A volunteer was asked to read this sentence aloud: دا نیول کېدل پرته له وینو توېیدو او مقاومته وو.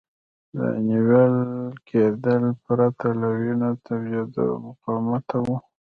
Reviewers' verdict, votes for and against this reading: rejected, 1, 2